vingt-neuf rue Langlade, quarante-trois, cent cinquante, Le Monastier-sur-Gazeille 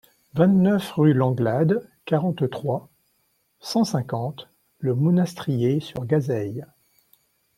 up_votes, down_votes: 1, 2